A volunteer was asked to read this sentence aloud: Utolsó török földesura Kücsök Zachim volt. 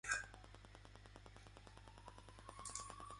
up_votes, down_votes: 0, 2